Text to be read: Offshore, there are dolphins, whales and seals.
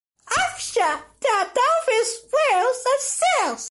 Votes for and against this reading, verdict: 2, 1, accepted